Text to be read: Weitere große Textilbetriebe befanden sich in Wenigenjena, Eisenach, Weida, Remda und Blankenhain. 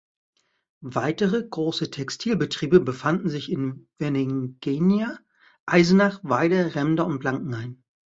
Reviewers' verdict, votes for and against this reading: rejected, 0, 2